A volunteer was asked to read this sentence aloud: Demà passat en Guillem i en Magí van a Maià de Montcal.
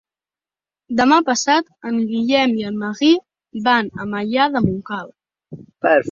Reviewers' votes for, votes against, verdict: 1, 2, rejected